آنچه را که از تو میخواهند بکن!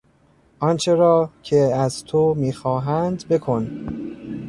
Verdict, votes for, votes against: rejected, 0, 2